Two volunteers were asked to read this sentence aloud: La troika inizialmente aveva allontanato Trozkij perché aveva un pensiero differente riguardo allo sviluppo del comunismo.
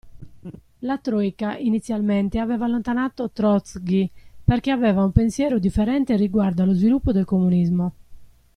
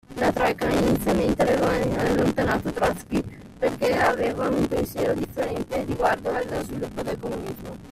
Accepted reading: first